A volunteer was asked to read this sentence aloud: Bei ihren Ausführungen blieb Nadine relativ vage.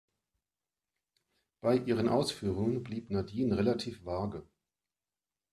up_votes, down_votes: 2, 0